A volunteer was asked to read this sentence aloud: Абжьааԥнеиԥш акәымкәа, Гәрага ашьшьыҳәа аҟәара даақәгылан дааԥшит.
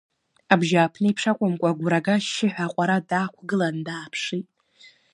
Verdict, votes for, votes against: accepted, 2, 0